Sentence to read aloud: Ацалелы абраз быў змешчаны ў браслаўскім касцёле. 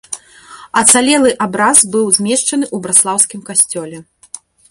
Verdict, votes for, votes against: rejected, 1, 2